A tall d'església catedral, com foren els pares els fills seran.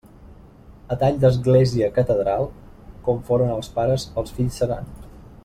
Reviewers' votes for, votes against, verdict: 3, 0, accepted